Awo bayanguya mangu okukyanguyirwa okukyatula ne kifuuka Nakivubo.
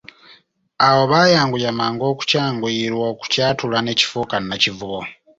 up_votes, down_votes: 2, 0